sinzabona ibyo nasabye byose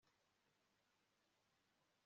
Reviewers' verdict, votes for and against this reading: rejected, 1, 2